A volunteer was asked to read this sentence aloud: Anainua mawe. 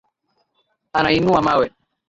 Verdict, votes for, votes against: accepted, 4, 1